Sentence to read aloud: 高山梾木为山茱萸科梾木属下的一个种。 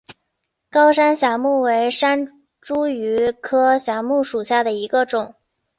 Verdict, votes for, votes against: rejected, 0, 2